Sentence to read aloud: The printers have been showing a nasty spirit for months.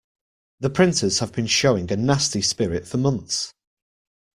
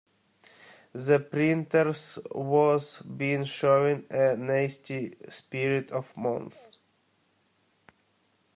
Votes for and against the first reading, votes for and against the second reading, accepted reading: 2, 0, 0, 2, first